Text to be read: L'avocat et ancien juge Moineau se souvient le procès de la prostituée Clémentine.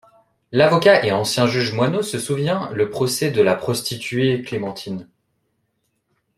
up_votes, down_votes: 2, 0